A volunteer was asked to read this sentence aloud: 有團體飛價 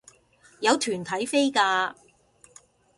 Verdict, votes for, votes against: accepted, 2, 0